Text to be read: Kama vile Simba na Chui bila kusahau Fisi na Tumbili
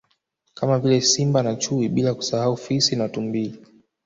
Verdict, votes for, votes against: accepted, 2, 0